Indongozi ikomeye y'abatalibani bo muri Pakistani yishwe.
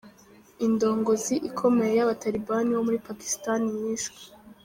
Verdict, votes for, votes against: rejected, 0, 2